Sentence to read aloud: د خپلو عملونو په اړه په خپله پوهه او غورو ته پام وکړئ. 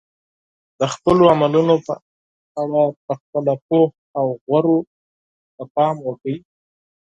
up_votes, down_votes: 0, 6